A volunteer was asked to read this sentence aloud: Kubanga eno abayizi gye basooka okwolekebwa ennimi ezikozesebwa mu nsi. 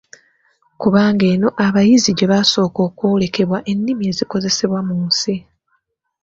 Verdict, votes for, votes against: accepted, 2, 0